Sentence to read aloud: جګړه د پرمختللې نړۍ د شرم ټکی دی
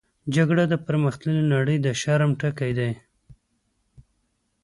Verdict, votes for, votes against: accepted, 2, 0